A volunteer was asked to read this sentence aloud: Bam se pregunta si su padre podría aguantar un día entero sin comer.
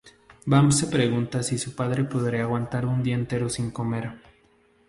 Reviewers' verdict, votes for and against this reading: accepted, 2, 0